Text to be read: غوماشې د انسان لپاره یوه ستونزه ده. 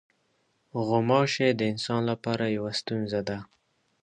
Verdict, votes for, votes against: accepted, 2, 0